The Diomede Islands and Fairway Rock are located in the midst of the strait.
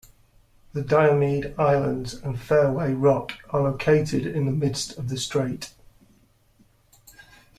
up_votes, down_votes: 2, 0